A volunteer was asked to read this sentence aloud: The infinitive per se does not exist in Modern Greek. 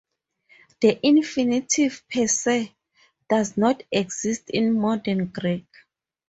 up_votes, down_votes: 4, 0